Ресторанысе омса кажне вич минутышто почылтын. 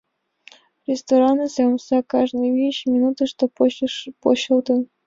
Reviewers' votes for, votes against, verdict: 0, 2, rejected